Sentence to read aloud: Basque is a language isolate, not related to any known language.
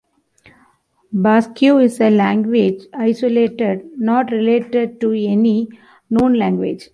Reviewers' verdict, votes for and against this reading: rejected, 1, 2